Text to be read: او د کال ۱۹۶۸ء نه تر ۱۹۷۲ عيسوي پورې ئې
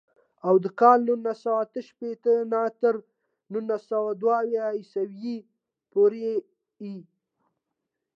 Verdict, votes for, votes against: rejected, 0, 2